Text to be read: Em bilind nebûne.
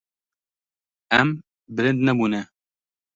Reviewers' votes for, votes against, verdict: 0, 2, rejected